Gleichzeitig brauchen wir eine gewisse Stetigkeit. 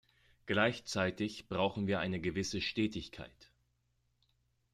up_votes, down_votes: 2, 0